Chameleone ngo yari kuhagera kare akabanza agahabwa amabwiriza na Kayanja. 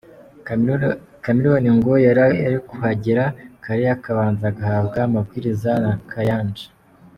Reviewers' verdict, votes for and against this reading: rejected, 0, 2